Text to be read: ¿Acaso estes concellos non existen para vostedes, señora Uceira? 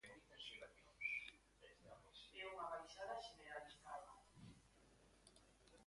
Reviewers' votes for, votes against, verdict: 0, 2, rejected